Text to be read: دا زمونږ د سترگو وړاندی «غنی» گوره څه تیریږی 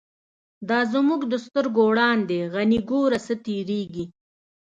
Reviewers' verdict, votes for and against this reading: accepted, 2, 0